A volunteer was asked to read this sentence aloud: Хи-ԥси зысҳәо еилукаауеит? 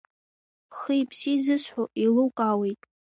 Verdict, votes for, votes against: accepted, 2, 0